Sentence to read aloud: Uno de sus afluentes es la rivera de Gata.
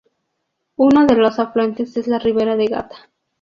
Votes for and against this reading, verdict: 0, 2, rejected